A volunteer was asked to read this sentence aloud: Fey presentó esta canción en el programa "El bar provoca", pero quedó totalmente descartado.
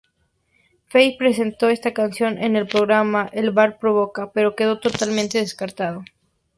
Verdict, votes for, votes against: accepted, 4, 0